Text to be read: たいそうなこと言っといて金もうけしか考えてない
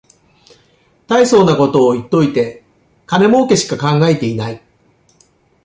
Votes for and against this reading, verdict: 0, 2, rejected